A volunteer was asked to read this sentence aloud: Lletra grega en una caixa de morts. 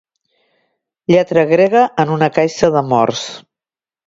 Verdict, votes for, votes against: accepted, 2, 0